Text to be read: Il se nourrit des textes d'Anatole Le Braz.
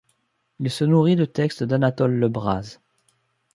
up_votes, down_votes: 0, 2